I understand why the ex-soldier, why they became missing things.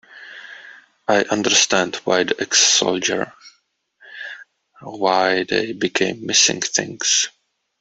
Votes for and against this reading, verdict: 2, 0, accepted